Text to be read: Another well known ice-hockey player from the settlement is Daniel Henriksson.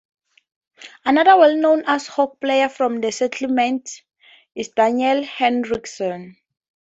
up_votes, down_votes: 0, 4